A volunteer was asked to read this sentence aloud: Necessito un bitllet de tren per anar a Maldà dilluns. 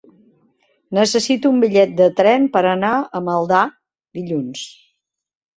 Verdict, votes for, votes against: accepted, 3, 0